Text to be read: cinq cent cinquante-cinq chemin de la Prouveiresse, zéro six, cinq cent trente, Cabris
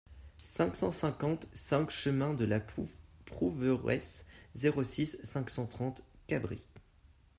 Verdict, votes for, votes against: rejected, 1, 2